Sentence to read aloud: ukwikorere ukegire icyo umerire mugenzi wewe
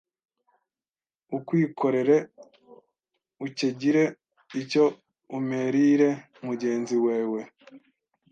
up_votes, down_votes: 1, 2